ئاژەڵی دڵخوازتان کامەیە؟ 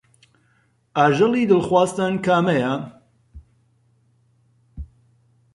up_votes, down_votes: 4, 0